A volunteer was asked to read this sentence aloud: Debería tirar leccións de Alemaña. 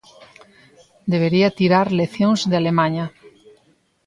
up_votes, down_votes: 2, 0